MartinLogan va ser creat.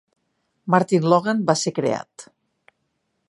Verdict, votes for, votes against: accepted, 2, 0